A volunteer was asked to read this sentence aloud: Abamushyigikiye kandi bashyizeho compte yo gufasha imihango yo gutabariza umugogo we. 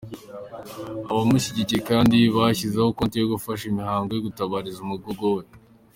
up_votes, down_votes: 2, 1